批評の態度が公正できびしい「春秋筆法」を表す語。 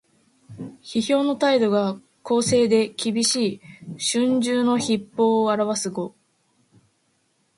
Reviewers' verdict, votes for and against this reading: accepted, 2, 0